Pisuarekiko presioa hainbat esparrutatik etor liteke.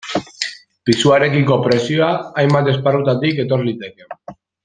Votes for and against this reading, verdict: 2, 0, accepted